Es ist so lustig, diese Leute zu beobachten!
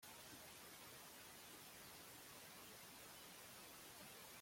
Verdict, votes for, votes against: rejected, 0, 2